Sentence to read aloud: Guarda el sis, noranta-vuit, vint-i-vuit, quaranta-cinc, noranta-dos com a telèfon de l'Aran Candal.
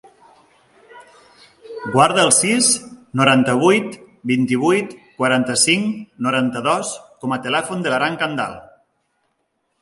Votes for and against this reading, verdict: 2, 0, accepted